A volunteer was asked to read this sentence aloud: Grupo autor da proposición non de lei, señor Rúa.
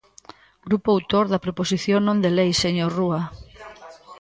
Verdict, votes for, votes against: accepted, 2, 0